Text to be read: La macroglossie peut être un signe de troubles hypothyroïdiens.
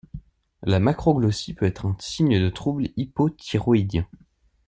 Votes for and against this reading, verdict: 1, 2, rejected